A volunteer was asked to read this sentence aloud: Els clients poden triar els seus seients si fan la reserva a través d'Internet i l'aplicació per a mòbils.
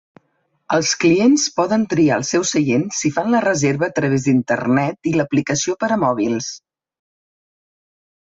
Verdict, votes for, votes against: accepted, 4, 0